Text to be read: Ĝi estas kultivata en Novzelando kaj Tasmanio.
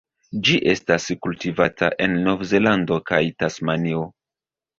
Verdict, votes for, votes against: accepted, 2, 0